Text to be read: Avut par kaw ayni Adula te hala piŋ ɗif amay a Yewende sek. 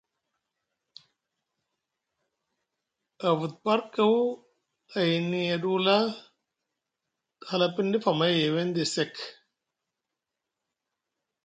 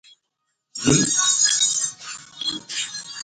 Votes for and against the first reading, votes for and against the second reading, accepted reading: 2, 0, 0, 3, first